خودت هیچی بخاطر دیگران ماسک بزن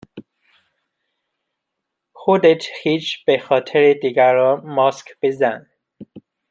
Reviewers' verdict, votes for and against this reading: rejected, 0, 2